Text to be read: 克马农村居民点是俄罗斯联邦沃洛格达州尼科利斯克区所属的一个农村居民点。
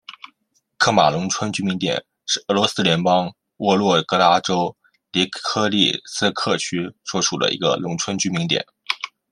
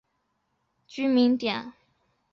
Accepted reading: first